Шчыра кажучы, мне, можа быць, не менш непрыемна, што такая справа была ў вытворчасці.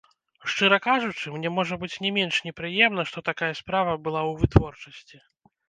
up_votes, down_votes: 2, 0